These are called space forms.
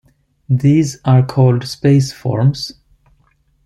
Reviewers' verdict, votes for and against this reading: accepted, 2, 0